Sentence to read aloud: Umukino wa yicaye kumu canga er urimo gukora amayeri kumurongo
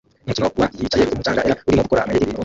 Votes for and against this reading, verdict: 0, 2, rejected